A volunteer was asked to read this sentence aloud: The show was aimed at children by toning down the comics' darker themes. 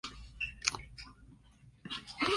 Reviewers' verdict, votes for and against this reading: rejected, 0, 2